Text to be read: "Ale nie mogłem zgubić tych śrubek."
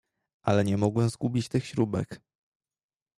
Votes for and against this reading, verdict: 2, 0, accepted